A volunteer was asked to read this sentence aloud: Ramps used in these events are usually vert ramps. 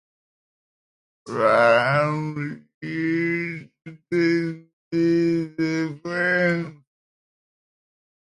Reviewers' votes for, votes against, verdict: 0, 2, rejected